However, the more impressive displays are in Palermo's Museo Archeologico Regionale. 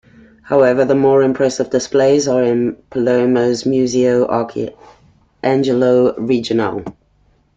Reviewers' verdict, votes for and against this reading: rejected, 0, 2